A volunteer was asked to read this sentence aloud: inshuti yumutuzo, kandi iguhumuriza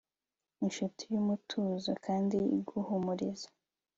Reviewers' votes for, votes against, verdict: 2, 0, accepted